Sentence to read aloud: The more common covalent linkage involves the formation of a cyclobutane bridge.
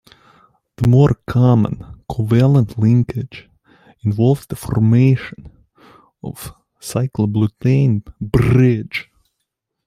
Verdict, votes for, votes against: accepted, 2, 1